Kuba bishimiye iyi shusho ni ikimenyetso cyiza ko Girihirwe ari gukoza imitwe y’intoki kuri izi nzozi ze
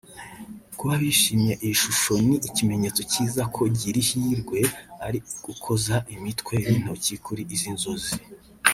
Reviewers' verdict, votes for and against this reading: rejected, 1, 2